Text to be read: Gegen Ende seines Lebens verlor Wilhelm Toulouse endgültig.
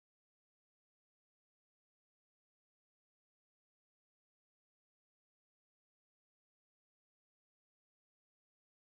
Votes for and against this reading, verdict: 1, 2, rejected